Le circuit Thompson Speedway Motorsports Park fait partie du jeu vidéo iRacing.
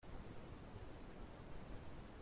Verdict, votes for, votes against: rejected, 0, 2